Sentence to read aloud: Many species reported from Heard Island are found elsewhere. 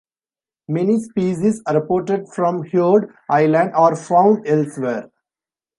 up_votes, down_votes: 2, 0